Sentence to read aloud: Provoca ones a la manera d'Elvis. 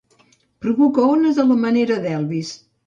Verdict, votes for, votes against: accepted, 2, 0